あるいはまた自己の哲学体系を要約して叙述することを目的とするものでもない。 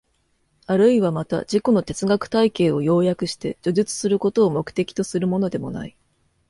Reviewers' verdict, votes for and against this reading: accepted, 2, 0